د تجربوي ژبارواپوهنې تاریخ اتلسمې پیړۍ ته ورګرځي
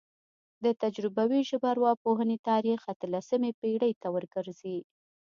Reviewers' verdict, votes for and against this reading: accepted, 2, 0